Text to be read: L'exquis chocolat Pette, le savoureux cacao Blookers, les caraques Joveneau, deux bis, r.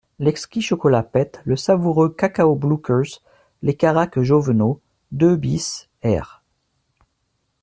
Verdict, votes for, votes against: accepted, 2, 0